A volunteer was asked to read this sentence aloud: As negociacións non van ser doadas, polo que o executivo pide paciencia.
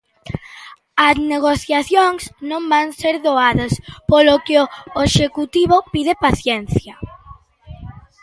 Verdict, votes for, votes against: rejected, 0, 2